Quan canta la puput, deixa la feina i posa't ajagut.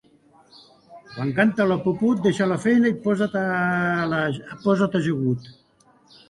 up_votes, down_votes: 0, 2